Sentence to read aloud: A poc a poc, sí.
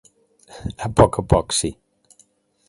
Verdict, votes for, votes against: accepted, 2, 0